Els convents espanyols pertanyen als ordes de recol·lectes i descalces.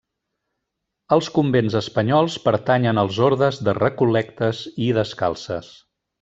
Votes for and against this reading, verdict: 2, 0, accepted